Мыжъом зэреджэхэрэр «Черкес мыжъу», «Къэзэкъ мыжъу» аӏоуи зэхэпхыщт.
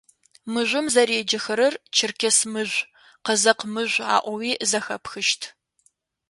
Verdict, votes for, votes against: accepted, 2, 0